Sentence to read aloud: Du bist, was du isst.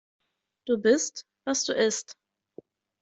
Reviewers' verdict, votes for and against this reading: accepted, 2, 0